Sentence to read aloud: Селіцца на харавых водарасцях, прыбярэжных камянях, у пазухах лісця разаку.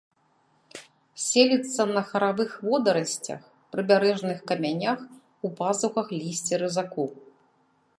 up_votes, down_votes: 2, 0